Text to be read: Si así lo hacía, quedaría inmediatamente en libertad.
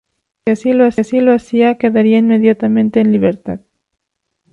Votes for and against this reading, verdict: 0, 2, rejected